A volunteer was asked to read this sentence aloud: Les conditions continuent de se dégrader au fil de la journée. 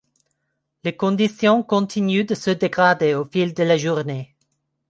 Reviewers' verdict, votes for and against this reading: accepted, 2, 0